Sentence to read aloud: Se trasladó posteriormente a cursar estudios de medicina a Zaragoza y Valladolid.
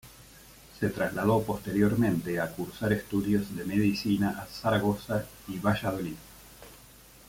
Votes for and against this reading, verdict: 2, 0, accepted